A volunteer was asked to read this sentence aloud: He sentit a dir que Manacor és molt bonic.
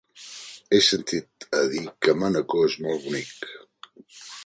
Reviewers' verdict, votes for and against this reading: rejected, 1, 2